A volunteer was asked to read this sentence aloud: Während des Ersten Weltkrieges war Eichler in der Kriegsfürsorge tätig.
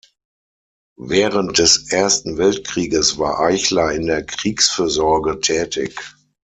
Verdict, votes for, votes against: accepted, 6, 0